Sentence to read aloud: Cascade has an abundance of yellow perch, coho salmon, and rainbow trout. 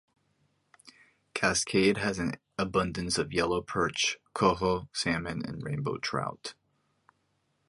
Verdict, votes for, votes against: accepted, 2, 0